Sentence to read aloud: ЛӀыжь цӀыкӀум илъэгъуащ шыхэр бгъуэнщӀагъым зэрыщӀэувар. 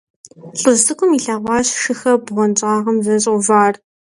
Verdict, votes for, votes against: accepted, 2, 0